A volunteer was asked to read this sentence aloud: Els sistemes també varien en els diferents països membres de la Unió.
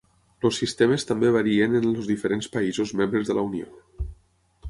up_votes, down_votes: 0, 6